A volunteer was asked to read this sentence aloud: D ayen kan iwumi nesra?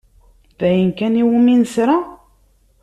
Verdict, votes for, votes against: accepted, 2, 0